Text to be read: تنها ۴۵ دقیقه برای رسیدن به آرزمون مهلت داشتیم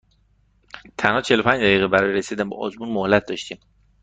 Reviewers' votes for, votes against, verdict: 0, 2, rejected